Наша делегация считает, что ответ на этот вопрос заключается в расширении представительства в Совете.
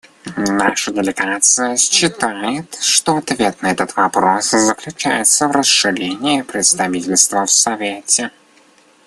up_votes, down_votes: 1, 2